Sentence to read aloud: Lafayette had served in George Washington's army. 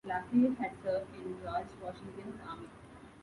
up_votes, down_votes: 0, 2